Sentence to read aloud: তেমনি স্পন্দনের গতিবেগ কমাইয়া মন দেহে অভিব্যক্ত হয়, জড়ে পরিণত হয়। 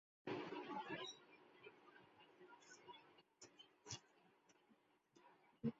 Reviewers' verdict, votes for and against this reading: rejected, 0, 2